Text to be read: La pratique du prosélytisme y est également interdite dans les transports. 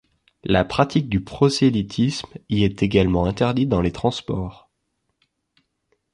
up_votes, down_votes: 2, 0